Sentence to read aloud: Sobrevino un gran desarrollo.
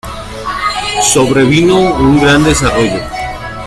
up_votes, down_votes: 2, 0